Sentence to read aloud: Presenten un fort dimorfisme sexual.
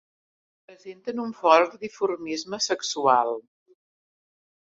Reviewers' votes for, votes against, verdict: 1, 2, rejected